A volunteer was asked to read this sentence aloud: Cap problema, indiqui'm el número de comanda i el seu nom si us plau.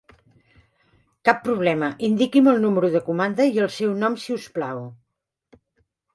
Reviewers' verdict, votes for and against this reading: accepted, 3, 0